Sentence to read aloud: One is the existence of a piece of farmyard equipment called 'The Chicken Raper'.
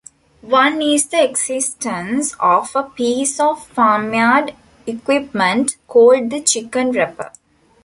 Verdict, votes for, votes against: rejected, 1, 2